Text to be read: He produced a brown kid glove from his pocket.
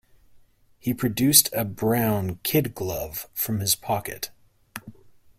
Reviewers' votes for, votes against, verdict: 2, 0, accepted